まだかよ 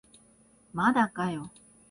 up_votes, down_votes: 43, 4